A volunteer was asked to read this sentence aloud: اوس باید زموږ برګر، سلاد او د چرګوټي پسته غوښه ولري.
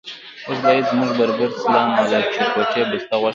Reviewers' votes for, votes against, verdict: 1, 2, rejected